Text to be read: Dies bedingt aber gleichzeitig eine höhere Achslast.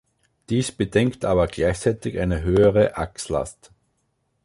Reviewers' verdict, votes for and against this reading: rejected, 0, 2